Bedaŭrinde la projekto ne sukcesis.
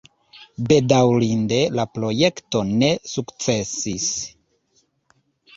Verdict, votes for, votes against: accepted, 2, 0